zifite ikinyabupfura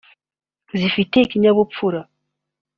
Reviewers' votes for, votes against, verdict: 2, 0, accepted